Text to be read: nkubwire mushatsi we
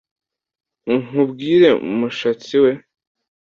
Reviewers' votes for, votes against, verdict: 2, 0, accepted